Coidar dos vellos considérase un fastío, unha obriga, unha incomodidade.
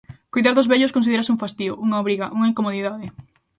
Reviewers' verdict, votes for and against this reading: accepted, 2, 1